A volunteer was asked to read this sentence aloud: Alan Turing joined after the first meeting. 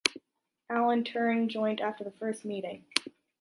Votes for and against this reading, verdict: 2, 0, accepted